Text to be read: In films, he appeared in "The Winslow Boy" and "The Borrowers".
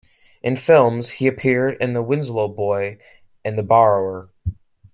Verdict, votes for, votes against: rejected, 0, 2